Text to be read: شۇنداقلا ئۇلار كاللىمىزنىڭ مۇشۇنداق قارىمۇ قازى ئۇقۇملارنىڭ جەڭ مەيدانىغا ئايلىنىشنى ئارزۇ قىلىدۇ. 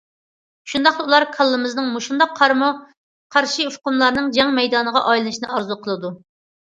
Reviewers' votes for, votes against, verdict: 0, 2, rejected